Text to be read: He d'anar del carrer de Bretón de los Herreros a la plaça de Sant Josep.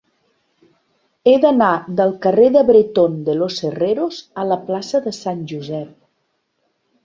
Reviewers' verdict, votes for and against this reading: accepted, 2, 0